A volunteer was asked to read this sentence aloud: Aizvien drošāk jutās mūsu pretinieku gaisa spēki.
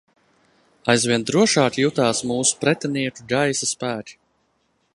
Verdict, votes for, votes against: accepted, 2, 0